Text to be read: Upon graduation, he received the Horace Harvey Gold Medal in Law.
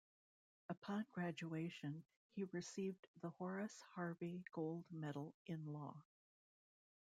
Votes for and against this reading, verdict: 0, 2, rejected